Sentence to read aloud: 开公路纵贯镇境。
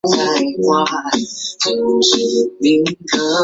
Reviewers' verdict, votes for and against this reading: rejected, 1, 4